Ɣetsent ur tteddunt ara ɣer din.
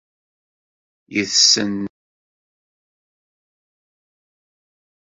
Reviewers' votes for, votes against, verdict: 0, 2, rejected